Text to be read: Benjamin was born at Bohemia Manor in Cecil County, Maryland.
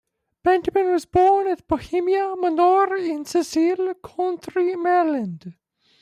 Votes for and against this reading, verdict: 0, 2, rejected